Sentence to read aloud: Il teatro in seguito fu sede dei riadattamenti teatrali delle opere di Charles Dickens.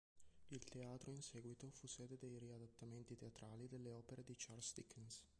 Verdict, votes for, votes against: rejected, 1, 2